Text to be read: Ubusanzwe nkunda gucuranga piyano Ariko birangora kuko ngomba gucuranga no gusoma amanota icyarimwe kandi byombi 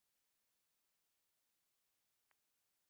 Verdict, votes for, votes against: rejected, 1, 2